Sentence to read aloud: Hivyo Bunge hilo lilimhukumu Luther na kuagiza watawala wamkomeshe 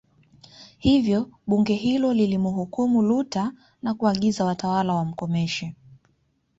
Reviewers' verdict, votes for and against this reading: accepted, 2, 0